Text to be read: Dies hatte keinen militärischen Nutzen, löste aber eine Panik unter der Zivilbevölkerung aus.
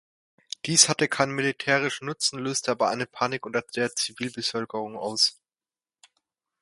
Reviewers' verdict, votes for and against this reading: accepted, 2, 1